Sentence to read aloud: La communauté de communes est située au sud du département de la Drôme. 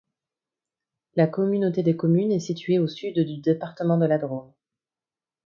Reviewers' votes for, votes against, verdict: 1, 2, rejected